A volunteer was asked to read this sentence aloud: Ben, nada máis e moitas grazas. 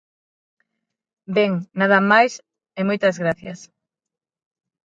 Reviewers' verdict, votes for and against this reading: rejected, 0, 6